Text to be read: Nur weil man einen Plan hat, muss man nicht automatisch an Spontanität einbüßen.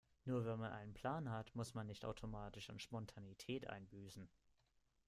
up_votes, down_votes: 2, 1